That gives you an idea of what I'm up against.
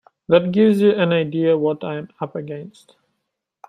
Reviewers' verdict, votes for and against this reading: accepted, 2, 1